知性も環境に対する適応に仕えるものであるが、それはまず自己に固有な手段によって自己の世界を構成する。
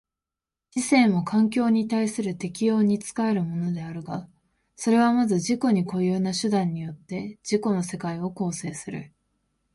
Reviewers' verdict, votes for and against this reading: accepted, 2, 0